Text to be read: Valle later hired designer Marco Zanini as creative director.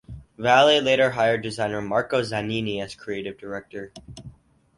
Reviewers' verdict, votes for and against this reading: accepted, 4, 0